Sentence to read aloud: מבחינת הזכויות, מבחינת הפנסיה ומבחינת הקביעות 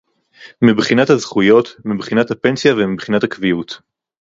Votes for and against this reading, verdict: 2, 0, accepted